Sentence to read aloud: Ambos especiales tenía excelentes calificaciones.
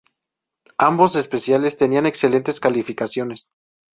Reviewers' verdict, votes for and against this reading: rejected, 0, 2